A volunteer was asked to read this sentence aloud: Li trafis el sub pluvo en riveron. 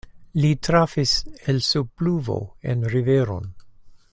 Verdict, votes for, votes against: accepted, 2, 0